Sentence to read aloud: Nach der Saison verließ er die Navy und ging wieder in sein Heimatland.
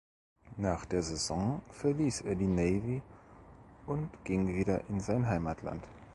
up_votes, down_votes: 2, 0